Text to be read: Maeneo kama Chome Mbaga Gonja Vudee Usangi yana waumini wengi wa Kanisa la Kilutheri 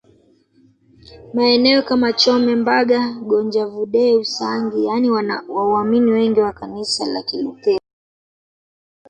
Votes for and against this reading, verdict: 1, 2, rejected